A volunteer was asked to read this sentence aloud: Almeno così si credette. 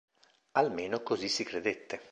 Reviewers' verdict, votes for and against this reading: accepted, 2, 0